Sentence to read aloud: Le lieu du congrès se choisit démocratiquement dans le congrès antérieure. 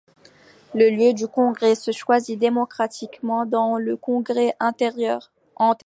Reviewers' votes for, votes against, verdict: 0, 2, rejected